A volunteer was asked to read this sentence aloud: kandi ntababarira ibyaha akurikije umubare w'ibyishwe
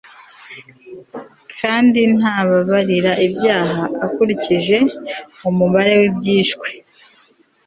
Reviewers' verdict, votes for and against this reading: accepted, 3, 0